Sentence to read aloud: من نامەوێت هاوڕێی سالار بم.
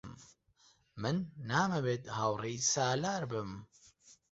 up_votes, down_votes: 2, 0